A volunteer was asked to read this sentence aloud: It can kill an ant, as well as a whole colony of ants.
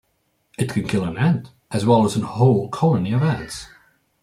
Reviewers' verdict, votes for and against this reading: rejected, 0, 2